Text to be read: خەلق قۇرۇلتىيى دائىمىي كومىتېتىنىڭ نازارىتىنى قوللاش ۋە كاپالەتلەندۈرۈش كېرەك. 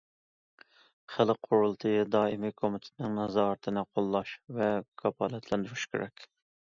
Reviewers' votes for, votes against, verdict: 2, 0, accepted